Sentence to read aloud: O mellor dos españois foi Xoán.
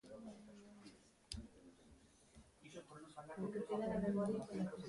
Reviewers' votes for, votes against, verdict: 0, 2, rejected